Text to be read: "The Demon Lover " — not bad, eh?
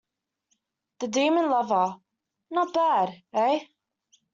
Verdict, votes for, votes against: accepted, 2, 0